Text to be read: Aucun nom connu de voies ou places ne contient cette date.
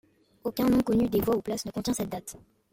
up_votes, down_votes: 2, 1